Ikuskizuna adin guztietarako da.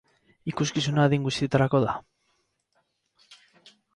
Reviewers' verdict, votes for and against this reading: rejected, 0, 2